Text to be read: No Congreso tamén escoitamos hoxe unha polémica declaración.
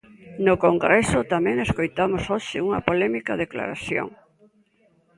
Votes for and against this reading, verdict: 2, 0, accepted